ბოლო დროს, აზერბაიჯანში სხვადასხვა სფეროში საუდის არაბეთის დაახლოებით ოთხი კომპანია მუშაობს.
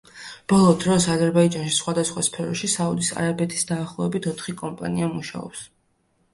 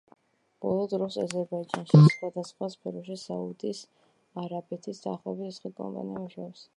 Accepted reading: first